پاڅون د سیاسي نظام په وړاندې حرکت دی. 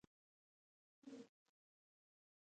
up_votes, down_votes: 2, 0